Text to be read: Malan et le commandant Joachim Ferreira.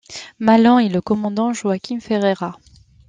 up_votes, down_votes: 2, 0